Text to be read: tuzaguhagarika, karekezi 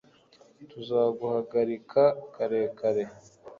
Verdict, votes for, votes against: rejected, 1, 2